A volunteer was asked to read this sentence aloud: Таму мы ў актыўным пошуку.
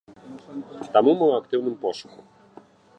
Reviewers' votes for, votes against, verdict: 1, 2, rejected